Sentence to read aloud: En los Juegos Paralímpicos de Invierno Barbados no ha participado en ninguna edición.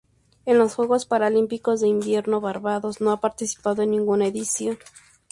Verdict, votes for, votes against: accepted, 2, 0